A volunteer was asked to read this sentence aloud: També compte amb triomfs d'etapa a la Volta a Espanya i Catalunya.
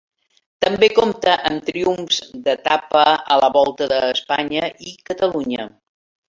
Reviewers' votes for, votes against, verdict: 0, 2, rejected